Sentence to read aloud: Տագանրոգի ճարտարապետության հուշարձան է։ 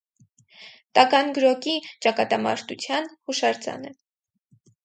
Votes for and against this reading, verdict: 2, 4, rejected